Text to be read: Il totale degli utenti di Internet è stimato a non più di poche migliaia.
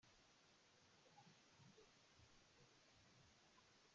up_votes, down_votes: 0, 2